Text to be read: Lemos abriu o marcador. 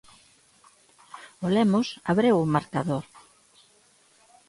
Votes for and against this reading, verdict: 1, 2, rejected